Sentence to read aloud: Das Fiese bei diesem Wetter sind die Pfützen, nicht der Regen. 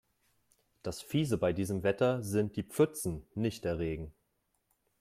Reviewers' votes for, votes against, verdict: 3, 0, accepted